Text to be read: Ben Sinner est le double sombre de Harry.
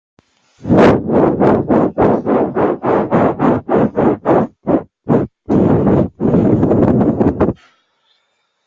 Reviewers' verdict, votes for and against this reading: rejected, 0, 2